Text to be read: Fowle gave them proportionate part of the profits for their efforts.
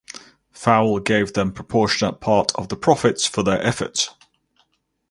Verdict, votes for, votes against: accepted, 4, 0